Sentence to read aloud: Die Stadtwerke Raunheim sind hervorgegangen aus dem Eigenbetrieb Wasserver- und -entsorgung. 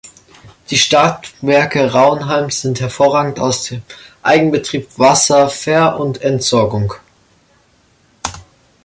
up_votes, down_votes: 1, 2